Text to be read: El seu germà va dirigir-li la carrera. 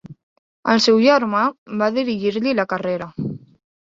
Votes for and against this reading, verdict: 3, 0, accepted